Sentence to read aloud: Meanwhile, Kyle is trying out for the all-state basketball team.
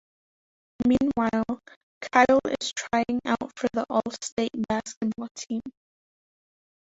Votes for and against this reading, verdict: 1, 2, rejected